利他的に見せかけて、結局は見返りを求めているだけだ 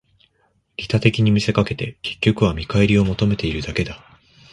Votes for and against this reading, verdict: 2, 1, accepted